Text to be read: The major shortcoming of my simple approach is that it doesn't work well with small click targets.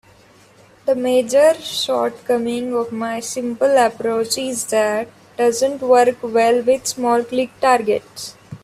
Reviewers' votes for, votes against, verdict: 2, 1, accepted